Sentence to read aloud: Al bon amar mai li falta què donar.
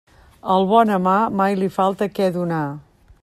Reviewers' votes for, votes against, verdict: 2, 0, accepted